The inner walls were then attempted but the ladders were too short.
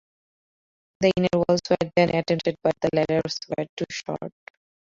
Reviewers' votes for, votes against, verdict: 0, 4, rejected